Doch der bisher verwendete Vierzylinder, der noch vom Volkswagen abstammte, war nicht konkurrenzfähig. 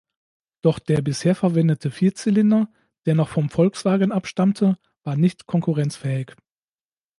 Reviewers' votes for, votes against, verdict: 2, 0, accepted